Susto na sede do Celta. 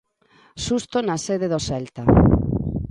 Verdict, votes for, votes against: accepted, 3, 1